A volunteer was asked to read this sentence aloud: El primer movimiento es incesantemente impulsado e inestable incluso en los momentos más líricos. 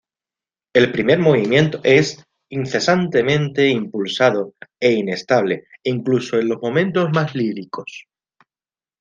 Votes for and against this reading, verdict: 1, 2, rejected